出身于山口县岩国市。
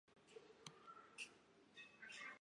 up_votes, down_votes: 0, 2